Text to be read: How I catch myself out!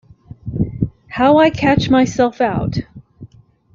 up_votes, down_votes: 2, 0